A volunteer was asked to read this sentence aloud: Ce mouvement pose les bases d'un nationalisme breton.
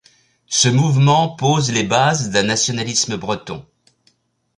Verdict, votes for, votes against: accepted, 2, 0